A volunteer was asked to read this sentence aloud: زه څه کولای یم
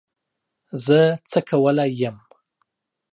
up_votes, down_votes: 3, 2